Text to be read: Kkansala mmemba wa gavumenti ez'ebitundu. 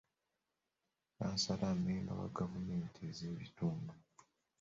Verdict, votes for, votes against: accepted, 2, 1